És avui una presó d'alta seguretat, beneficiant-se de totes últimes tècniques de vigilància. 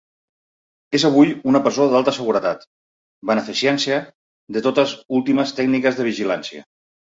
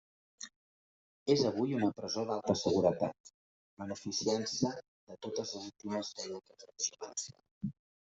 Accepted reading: first